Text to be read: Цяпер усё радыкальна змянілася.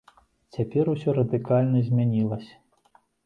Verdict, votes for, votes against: rejected, 0, 2